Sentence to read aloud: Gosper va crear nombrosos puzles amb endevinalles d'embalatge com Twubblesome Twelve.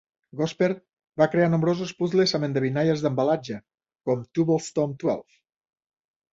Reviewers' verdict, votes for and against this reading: rejected, 0, 2